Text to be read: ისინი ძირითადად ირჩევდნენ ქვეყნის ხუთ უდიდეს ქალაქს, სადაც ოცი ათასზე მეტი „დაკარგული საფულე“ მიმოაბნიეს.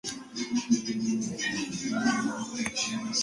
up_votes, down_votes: 0, 2